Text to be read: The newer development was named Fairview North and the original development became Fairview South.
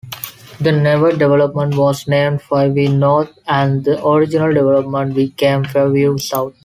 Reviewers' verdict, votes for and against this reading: rejected, 0, 2